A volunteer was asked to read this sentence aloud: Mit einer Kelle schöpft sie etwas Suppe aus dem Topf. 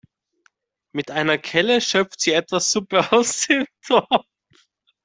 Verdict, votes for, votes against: rejected, 1, 2